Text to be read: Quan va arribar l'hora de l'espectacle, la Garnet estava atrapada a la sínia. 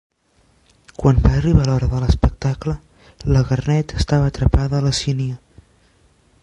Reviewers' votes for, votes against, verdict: 1, 3, rejected